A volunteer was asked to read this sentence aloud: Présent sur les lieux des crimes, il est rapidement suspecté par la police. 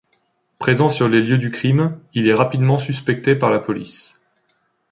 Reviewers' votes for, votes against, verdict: 1, 2, rejected